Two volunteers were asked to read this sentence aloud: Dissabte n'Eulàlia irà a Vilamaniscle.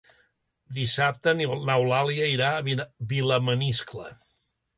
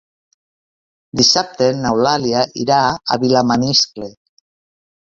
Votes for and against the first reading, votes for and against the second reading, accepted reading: 2, 3, 2, 0, second